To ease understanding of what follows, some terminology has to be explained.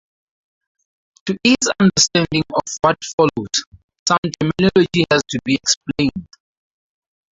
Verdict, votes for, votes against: rejected, 0, 2